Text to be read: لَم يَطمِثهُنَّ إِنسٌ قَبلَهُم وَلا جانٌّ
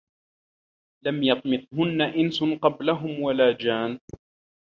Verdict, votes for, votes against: accepted, 2, 0